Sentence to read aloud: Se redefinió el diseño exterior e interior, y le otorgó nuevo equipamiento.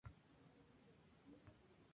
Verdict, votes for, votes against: rejected, 0, 2